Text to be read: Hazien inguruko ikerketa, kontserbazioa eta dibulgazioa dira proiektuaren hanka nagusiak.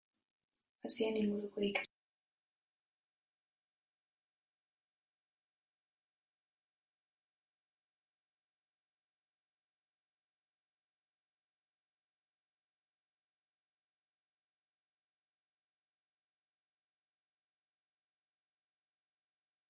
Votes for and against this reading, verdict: 0, 2, rejected